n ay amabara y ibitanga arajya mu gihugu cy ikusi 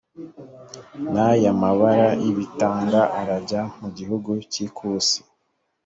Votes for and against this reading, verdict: 3, 0, accepted